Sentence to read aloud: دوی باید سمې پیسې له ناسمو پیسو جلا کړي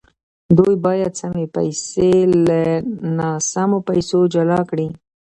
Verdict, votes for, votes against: accepted, 2, 0